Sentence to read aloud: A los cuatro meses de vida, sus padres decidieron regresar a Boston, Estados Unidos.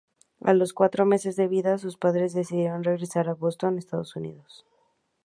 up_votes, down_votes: 2, 0